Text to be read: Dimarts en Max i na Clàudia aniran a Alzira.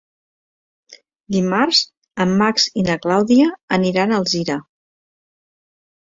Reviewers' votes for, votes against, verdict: 2, 0, accepted